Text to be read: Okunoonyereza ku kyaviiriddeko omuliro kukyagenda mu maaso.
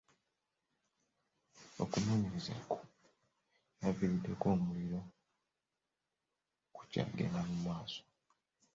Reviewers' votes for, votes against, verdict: 1, 2, rejected